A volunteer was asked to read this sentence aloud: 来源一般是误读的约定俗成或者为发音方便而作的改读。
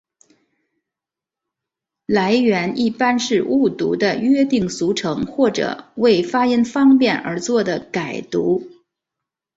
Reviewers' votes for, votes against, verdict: 2, 0, accepted